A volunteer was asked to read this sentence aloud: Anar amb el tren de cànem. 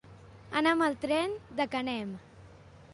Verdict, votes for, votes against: rejected, 1, 2